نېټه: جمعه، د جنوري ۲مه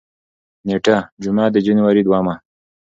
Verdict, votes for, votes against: rejected, 0, 2